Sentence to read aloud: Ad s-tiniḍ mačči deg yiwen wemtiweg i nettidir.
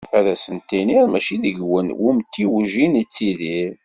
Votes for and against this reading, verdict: 2, 0, accepted